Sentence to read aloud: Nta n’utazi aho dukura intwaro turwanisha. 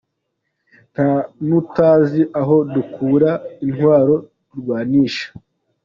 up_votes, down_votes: 2, 0